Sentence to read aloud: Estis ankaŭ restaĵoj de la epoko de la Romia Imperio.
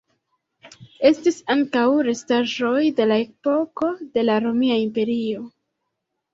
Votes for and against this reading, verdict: 2, 0, accepted